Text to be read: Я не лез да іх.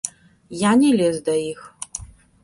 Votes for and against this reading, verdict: 2, 0, accepted